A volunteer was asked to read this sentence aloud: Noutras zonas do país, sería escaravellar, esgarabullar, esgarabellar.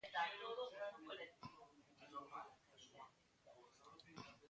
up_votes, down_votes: 0, 3